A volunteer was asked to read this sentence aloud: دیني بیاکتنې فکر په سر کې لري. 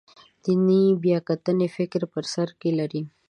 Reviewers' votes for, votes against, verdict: 2, 0, accepted